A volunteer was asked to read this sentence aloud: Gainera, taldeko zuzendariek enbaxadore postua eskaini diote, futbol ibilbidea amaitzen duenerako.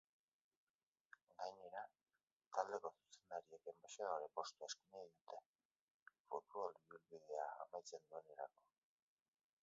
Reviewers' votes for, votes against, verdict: 0, 2, rejected